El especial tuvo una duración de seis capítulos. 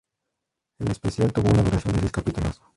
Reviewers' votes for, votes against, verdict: 0, 2, rejected